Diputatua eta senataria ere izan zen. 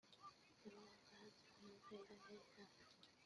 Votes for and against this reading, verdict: 0, 2, rejected